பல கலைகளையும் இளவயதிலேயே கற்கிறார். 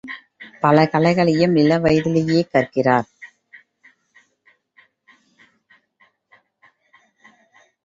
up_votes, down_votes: 2, 0